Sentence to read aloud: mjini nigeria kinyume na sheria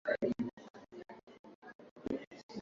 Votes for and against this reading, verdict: 0, 3, rejected